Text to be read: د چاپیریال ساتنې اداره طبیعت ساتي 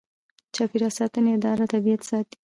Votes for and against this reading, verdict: 0, 2, rejected